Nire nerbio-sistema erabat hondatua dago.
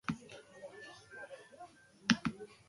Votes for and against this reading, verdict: 0, 2, rejected